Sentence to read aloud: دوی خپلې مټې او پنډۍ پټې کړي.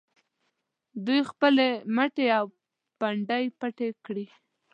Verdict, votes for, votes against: accepted, 2, 0